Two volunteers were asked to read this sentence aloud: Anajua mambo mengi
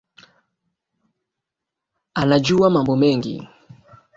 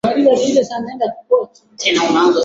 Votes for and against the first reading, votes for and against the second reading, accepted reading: 3, 1, 0, 2, first